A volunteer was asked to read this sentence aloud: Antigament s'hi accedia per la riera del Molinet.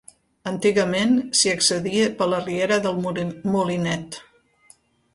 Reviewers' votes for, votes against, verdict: 0, 3, rejected